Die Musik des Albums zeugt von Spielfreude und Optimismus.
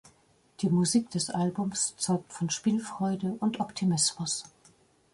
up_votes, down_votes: 2, 0